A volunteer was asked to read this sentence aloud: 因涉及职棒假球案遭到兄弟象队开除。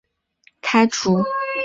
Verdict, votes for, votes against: rejected, 1, 2